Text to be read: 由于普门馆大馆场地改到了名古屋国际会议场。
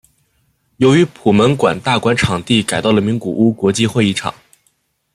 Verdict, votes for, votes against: accepted, 2, 1